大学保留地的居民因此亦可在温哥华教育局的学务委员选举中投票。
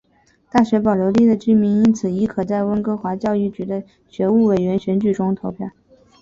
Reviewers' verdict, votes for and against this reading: accepted, 4, 0